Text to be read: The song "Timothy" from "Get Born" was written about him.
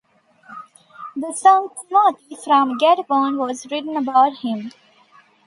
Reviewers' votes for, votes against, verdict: 0, 2, rejected